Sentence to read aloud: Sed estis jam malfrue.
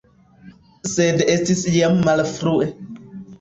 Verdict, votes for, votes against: accepted, 2, 1